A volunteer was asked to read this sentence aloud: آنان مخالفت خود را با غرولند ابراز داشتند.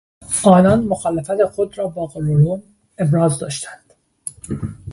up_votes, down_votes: 2, 0